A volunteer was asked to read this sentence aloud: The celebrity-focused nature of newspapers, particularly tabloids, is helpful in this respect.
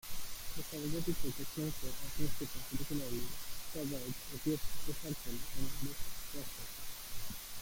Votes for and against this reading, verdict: 0, 2, rejected